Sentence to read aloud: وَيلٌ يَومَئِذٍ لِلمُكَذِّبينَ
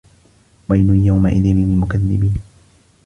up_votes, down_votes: 2, 1